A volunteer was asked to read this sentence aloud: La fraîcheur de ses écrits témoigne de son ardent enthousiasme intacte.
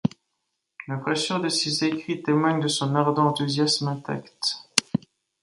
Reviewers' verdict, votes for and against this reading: accepted, 2, 0